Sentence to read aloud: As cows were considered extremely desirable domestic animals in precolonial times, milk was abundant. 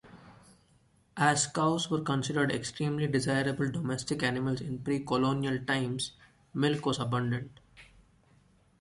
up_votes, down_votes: 2, 0